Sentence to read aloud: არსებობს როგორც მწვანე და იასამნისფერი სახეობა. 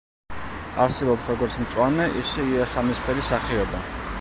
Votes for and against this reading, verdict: 0, 2, rejected